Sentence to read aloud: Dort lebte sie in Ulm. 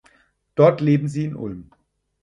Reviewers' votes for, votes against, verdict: 0, 4, rejected